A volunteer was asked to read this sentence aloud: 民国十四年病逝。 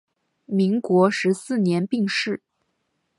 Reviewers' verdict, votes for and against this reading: accepted, 6, 1